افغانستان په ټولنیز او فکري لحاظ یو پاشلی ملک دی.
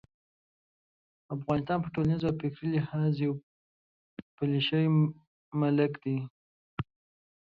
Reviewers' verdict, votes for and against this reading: rejected, 1, 2